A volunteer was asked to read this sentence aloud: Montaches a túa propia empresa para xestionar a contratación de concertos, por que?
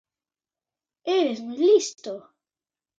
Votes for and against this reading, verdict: 0, 2, rejected